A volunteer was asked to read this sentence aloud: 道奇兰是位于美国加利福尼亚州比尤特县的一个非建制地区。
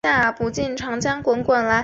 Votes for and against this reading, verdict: 0, 4, rejected